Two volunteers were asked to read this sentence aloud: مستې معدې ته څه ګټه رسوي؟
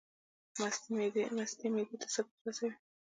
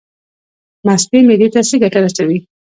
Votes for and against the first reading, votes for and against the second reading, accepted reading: 2, 0, 1, 2, first